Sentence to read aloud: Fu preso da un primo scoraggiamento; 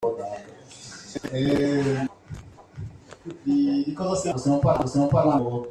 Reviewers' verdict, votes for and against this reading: rejected, 0, 2